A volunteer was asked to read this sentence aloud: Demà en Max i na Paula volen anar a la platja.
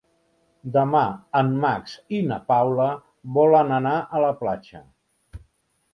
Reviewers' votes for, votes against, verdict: 3, 0, accepted